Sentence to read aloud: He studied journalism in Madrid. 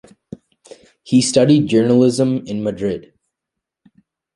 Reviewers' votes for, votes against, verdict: 2, 0, accepted